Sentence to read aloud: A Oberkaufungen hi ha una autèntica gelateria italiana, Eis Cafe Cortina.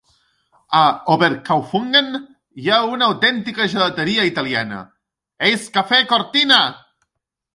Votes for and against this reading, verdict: 1, 2, rejected